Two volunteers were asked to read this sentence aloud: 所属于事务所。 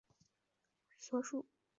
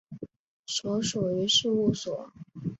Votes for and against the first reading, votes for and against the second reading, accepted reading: 1, 2, 2, 0, second